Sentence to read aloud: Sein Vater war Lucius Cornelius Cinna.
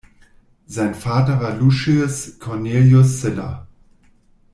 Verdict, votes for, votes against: rejected, 1, 2